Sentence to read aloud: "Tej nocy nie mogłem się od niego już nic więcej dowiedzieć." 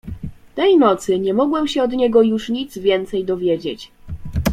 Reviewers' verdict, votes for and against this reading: accepted, 2, 0